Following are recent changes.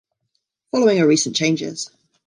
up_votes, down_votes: 2, 1